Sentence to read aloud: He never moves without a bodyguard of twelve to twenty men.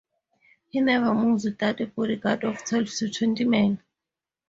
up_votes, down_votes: 2, 0